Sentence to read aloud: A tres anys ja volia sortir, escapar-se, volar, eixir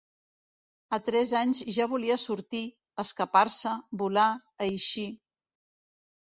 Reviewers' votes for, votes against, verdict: 3, 0, accepted